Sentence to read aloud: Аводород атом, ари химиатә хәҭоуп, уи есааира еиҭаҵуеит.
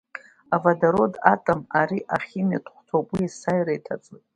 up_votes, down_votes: 1, 2